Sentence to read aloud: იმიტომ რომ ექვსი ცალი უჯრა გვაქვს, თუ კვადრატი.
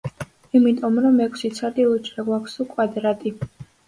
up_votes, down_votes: 2, 0